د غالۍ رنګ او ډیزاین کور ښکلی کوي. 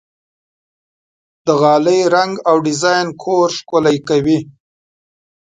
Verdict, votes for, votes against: accepted, 2, 0